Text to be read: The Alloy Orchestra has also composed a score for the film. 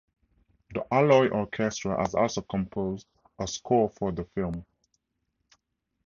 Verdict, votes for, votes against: accepted, 4, 0